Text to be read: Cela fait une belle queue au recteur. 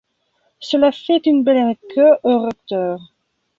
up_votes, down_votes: 1, 2